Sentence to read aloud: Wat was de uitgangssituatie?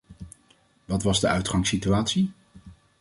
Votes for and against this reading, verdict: 2, 0, accepted